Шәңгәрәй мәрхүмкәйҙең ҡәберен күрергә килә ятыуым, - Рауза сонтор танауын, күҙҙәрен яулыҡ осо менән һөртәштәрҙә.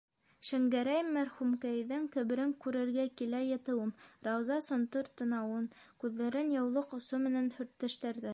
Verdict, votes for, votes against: rejected, 1, 2